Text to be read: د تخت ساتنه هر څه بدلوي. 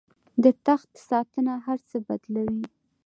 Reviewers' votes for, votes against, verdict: 2, 0, accepted